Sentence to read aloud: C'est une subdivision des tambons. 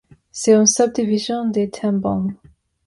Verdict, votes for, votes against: rejected, 1, 2